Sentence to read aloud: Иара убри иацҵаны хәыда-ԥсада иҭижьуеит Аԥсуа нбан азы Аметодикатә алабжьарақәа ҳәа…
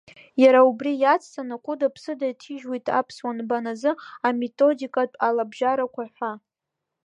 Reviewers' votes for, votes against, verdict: 2, 0, accepted